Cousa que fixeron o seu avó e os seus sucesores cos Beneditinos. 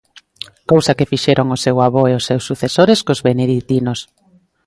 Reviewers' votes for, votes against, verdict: 2, 0, accepted